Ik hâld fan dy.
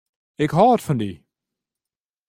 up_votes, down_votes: 0, 2